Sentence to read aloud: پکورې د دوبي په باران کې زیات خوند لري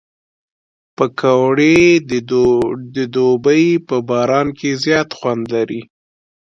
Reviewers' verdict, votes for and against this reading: rejected, 1, 2